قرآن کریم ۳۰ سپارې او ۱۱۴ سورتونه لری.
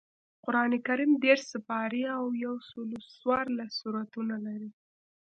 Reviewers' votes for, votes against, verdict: 0, 2, rejected